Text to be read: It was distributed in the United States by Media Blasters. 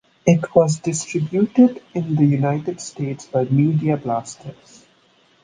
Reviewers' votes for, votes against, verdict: 2, 0, accepted